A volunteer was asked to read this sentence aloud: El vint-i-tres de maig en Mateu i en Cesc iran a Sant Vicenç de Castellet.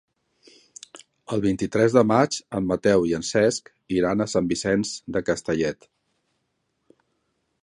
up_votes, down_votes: 4, 0